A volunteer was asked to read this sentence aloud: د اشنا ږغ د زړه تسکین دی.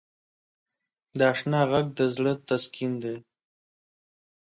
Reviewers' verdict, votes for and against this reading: accepted, 4, 0